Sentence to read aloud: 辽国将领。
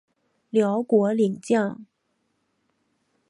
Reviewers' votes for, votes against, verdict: 1, 2, rejected